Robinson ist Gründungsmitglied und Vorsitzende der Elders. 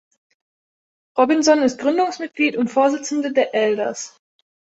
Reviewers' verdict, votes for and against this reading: accepted, 3, 0